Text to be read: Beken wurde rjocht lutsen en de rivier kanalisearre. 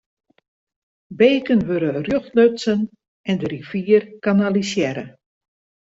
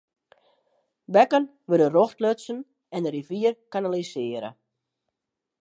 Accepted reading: first